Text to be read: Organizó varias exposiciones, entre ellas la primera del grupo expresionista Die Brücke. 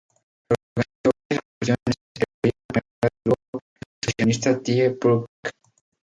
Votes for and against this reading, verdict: 0, 2, rejected